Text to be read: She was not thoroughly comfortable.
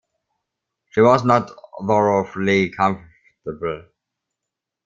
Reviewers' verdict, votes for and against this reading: rejected, 0, 2